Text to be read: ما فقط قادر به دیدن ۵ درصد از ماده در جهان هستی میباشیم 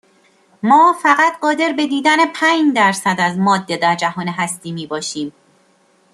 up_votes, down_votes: 0, 2